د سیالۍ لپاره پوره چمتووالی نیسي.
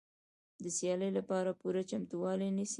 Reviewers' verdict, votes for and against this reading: accepted, 2, 1